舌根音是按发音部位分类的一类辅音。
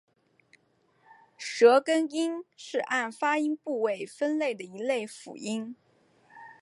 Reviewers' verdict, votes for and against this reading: accepted, 3, 1